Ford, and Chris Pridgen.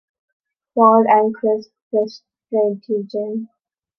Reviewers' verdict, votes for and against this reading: rejected, 0, 2